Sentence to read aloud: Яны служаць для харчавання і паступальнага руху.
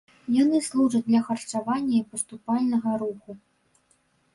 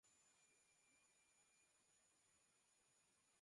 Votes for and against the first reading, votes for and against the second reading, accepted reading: 3, 0, 0, 2, first